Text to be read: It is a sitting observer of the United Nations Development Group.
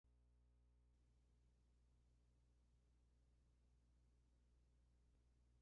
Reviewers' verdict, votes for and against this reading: rejected, 0, 2